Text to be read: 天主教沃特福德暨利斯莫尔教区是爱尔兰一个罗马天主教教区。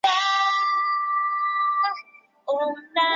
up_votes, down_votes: 0, 3